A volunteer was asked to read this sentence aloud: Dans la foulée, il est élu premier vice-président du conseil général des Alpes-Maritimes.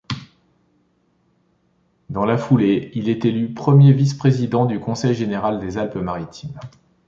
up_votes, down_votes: 2, 0